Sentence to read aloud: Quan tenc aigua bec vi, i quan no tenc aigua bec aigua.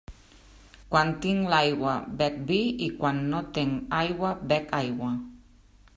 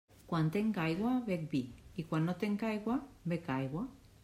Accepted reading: second